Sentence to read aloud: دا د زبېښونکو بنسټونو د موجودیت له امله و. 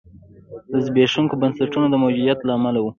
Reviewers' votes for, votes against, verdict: 1, 2, rejected